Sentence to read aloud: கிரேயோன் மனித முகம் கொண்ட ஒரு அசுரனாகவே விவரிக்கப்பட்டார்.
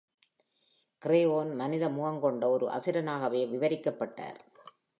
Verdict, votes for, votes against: accepted, 2, 0